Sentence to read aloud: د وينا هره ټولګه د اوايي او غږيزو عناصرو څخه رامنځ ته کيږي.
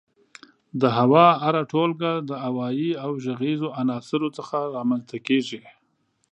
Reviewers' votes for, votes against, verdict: 0, 2, rejected